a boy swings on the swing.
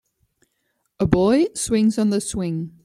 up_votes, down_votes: 2, 0